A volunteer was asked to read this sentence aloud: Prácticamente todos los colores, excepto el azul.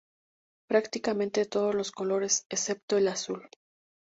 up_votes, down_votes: 2, 0